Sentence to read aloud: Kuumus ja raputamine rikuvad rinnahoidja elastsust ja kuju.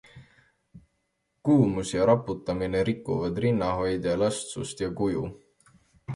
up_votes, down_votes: 2, 0